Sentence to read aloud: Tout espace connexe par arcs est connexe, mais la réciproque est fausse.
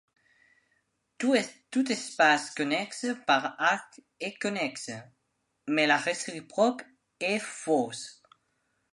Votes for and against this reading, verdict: 0, 2, rejected